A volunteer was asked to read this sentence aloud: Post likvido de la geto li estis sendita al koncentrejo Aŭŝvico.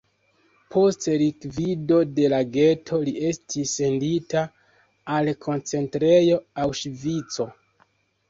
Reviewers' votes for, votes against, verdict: 0, 2, rejected